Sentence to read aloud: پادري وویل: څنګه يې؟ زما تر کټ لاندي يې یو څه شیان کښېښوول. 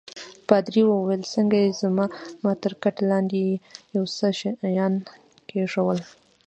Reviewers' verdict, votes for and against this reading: rejected, 1, 2